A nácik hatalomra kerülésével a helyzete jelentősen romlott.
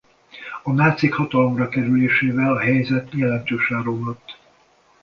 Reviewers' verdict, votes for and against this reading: rejected, 1, 2